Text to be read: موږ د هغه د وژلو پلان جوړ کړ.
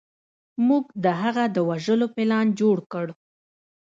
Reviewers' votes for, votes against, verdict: 1, 2, rejected